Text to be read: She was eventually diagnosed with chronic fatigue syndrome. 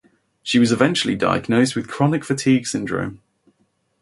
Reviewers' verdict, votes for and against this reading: accepted, 4, 0